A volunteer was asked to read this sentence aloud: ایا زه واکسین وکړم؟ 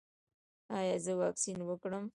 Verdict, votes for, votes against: accepted, 2, 1